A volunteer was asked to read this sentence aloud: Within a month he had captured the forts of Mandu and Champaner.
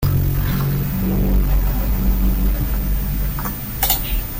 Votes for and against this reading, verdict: 0, 2, rejected